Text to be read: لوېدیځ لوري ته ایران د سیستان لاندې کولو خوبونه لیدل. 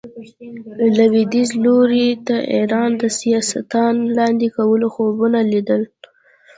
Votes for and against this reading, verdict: 0, 2, rejected